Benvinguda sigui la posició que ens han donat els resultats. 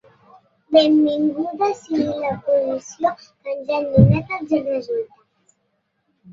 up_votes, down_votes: 1, 2